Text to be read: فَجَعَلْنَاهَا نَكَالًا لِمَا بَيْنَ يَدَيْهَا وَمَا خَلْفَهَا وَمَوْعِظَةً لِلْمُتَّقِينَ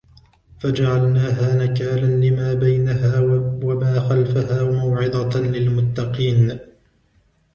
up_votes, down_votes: 0, 2